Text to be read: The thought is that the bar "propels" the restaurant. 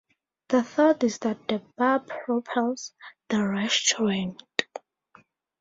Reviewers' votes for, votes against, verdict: 2, 2, rejected